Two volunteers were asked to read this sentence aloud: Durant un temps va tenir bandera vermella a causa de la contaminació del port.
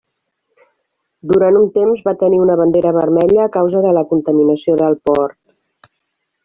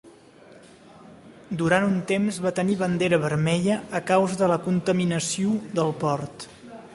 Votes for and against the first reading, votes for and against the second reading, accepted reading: 1, 2, 3, 0, second